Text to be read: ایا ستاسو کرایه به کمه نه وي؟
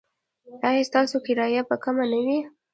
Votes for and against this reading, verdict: 0, 2, rejected